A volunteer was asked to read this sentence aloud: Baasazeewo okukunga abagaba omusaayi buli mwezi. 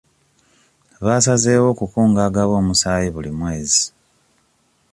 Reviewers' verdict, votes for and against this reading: accepted, 2, 1